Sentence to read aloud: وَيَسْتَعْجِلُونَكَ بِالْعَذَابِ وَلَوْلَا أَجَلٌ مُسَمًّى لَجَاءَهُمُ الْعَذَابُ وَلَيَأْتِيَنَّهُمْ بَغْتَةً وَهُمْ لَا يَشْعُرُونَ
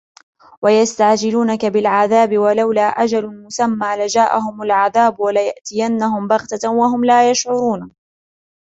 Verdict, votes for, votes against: accepted, 2, 1